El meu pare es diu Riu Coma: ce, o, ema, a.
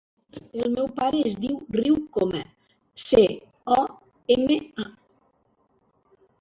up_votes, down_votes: 1, 2